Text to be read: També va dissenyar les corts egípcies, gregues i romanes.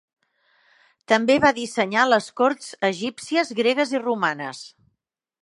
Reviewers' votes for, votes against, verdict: 4, 0, accepted